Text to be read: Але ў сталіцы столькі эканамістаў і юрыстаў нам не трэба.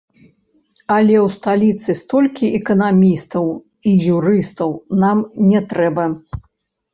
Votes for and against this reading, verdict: 1, 2, rejected